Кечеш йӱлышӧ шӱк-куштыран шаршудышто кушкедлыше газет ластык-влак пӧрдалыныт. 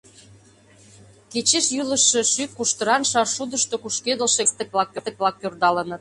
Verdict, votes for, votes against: rejected, 0, 2